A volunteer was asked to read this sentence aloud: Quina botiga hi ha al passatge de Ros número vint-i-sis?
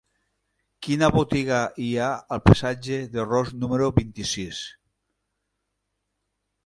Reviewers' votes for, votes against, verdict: 2, 0, accepted